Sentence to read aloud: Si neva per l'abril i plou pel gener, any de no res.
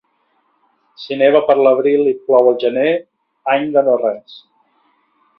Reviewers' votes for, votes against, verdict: 0, 2, rejected